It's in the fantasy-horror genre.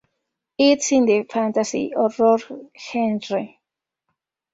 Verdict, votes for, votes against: rejected, 0, 2